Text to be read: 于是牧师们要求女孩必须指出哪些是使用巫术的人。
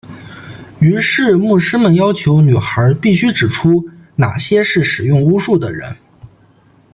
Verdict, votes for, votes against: accepted, 2, 0